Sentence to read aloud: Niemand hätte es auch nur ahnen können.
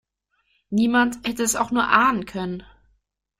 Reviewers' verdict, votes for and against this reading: accepted, 2, 0